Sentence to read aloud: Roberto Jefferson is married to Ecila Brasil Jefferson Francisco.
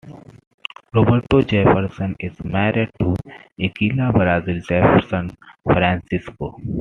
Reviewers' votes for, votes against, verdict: 2, 0, accepted